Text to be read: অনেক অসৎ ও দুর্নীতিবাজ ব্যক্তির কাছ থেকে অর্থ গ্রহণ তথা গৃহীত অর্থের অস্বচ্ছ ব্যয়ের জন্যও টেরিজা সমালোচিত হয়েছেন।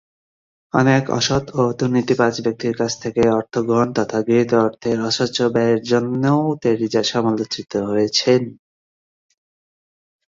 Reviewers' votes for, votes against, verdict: 0, 2, rejected